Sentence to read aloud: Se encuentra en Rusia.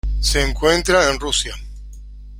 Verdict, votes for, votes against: accepted, 2, 0